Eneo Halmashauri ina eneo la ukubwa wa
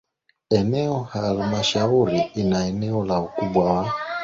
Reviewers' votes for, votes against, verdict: 2, 1, accepted